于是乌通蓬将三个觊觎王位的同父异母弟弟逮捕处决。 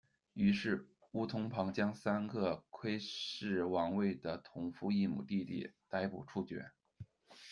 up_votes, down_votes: 1, 2